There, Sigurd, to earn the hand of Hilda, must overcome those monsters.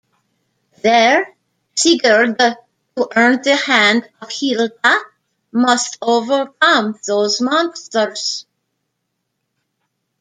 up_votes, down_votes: 1, 2